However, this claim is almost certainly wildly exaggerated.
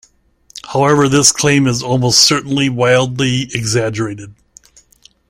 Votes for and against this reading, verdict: 2, 0, accepted